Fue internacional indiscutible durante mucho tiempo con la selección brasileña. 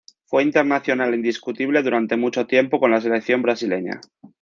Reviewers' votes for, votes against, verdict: 2, 0, accepted